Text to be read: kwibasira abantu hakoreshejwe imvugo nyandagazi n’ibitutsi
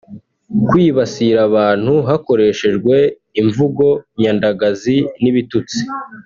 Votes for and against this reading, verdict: 1, 2, rejected